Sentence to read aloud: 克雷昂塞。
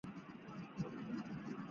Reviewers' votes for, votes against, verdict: 0, 2, rejected